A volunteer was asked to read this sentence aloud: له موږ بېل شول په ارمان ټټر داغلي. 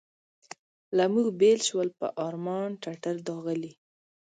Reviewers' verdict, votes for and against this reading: accepted, 2, 0